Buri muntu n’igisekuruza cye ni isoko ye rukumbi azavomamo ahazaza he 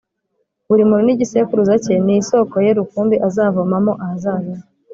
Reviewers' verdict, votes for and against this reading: accepted, 3, 0